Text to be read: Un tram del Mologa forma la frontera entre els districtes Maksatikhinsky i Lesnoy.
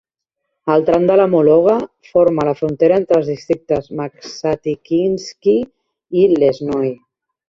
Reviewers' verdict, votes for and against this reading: rejected, 0, 2